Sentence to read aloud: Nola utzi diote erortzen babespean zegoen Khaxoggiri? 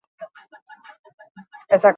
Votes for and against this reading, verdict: 0, 4, rejected